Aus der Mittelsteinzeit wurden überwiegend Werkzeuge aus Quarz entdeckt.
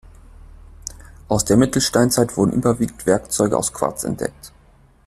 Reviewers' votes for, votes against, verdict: 2, 0, accepted